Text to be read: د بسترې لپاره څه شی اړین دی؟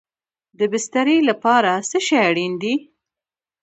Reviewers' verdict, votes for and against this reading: accepted, 2, 0